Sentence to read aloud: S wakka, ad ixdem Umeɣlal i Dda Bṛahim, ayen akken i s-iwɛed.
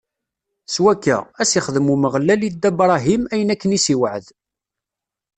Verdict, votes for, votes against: rejected, 0, 2